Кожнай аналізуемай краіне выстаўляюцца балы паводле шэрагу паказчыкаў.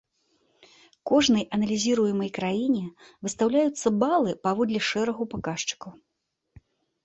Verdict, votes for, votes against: rejected, 1, 2